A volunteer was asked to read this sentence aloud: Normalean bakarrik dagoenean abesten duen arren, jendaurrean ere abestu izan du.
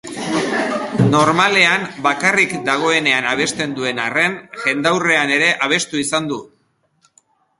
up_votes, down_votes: 1, 2